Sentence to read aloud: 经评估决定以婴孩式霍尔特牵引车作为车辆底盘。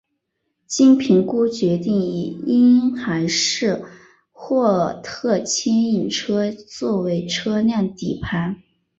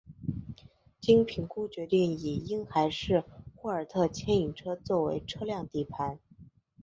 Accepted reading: second